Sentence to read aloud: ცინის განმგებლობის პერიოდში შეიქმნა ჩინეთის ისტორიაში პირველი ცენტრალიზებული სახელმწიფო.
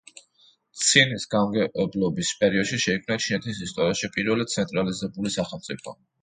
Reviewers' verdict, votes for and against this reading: rejected, 1, 2